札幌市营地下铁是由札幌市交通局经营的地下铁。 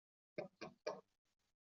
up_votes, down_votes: 2, 4